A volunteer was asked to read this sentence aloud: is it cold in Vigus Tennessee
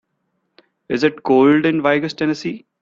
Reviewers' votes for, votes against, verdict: 2, 0, accepted